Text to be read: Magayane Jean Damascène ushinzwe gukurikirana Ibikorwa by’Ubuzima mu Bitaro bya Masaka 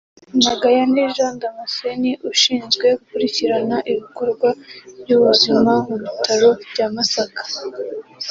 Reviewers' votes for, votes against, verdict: 2, 0, accepted